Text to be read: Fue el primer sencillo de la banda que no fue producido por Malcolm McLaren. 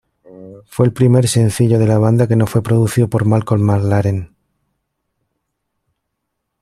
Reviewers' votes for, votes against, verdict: 2, 0, accepted